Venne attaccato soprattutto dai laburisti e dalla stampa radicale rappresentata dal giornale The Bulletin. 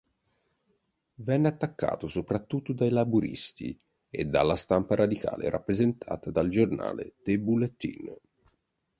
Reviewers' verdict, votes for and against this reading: accepted, 2, 0